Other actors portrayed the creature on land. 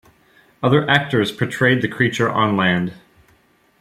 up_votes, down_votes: 2, 0